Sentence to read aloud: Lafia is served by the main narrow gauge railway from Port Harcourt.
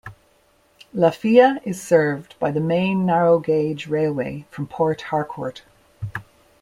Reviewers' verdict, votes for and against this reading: accepted, 2, 0